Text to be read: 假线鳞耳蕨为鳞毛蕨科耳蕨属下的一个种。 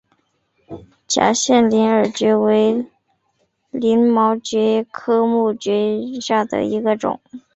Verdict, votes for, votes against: rejected, 1, 3